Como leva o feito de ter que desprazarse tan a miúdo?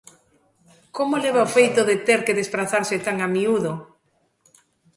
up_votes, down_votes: 2, 1